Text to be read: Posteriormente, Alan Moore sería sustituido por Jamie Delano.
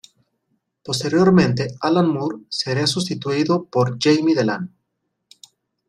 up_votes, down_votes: 2, 0